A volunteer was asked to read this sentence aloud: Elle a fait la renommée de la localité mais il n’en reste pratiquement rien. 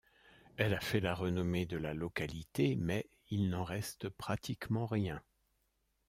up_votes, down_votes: 2, 0